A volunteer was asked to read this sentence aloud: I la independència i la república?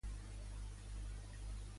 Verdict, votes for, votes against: rejected, 0, 2